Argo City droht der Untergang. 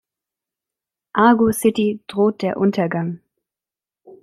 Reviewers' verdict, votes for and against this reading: accepted, 2, 0